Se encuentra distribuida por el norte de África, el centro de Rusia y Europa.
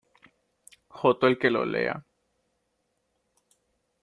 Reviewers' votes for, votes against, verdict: 0, 2, rejected